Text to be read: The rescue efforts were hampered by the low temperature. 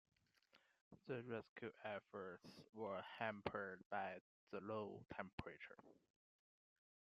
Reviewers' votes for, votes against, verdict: 2, 0, accepted